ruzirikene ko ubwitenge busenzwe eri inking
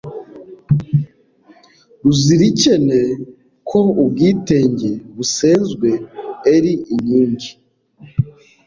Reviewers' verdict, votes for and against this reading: rejected, 0, 2